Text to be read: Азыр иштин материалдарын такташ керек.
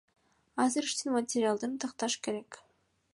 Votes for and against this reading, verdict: 1, 2, rejected